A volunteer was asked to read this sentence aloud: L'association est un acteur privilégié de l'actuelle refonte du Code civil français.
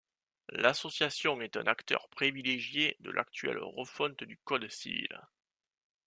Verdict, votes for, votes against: rejected, 1, 2